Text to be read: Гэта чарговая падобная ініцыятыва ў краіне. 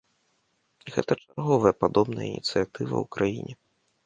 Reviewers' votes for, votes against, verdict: 1, 2, rejected